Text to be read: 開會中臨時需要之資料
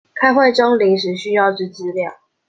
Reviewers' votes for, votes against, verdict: 2, 0, accepted